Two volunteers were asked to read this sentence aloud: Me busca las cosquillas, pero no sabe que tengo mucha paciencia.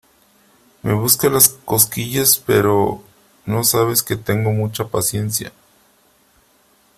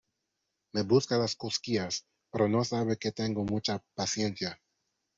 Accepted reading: second